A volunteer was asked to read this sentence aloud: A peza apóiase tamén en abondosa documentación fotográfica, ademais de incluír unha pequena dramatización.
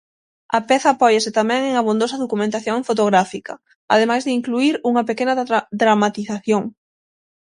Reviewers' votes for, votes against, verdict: 0, 6, rejected